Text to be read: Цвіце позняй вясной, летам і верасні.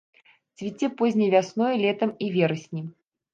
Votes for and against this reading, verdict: 1, 2, rejected